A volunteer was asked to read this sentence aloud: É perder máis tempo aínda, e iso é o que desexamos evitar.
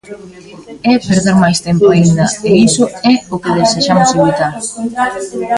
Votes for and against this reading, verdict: 0, 2, rejected